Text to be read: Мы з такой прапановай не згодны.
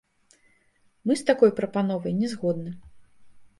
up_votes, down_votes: 1, 2